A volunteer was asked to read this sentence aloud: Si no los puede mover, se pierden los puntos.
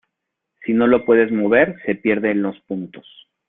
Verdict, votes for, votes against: rejected, 1, 2